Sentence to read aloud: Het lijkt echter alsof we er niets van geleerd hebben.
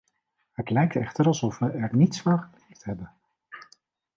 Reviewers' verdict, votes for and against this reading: rejected, 0, 2